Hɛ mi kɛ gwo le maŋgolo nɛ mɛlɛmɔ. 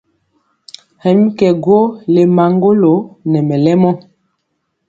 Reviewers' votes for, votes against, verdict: 2, 0, accepted